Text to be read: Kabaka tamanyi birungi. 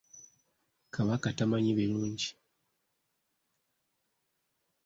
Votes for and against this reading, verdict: 2, 0, accepted